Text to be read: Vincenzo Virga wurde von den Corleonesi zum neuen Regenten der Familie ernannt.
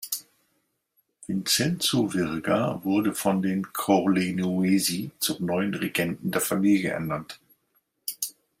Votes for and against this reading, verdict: 2, 0, accepted